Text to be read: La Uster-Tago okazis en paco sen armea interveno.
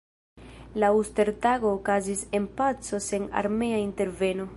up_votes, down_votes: 2, 0